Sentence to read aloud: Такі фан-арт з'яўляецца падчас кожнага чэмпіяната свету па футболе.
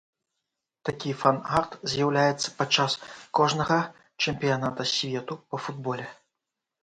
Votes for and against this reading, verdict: 2, 0, accepted